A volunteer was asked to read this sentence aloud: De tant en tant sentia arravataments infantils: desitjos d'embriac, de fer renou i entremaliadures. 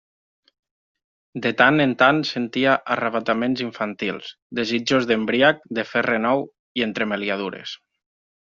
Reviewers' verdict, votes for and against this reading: rejected, 0, 2